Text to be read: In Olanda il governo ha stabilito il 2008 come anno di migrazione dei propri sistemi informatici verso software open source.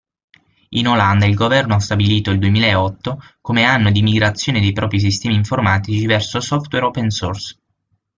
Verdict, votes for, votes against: rejected, 0, 2